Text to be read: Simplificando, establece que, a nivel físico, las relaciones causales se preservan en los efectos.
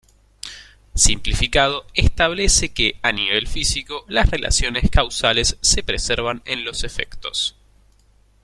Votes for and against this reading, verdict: 0, 2, rejected